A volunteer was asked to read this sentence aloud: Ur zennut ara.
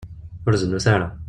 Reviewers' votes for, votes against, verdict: 0, 2, rejected